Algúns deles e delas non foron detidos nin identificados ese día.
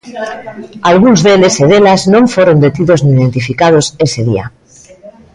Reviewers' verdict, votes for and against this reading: accepted, 3, 0